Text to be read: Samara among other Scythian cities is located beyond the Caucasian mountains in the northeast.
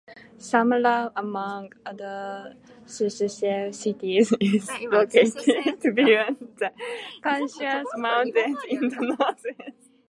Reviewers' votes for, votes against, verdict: 0, 2, rejected